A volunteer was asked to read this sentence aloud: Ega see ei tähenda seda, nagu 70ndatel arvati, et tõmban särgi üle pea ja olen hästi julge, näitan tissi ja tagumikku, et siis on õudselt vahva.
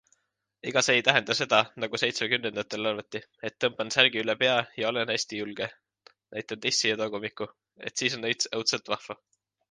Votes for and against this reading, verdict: 0, 2, rejected